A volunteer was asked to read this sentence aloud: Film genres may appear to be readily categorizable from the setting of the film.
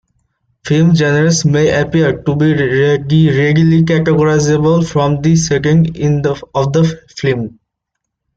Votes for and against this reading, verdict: 0, 2, rejected